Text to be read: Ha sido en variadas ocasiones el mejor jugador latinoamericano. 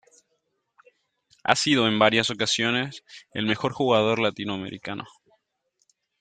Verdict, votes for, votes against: rejected, 1, 2